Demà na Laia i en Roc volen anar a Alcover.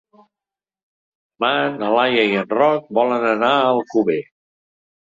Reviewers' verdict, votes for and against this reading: rejected, 1, 3